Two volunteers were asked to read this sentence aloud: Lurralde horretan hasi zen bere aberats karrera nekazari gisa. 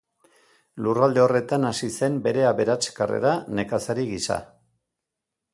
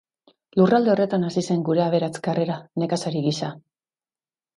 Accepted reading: first